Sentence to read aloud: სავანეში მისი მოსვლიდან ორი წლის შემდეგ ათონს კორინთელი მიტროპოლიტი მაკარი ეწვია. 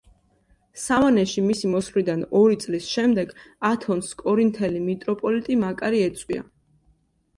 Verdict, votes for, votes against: accepted, 3, 0